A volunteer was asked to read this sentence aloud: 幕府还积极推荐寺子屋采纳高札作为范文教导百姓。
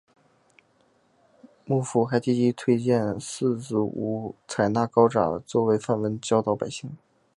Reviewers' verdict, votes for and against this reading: accepted, 2, 0